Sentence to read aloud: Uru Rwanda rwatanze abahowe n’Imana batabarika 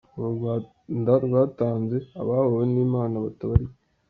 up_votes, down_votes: 2, 1